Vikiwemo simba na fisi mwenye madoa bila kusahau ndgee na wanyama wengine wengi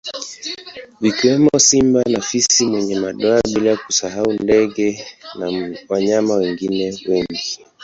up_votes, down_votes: 0, 2